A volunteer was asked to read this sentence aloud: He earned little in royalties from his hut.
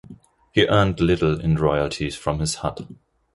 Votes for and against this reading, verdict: 3, 0, accepted